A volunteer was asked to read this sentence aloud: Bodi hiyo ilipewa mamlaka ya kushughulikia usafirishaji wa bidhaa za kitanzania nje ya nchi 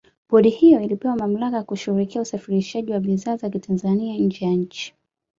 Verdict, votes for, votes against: accepted, 2, 0